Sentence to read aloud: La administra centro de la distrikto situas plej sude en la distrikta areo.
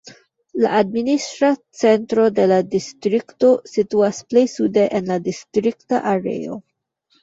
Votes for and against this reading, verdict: 0, 2, rejected